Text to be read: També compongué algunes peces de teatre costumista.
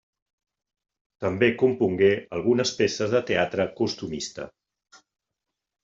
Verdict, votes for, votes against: accepted, 3, 0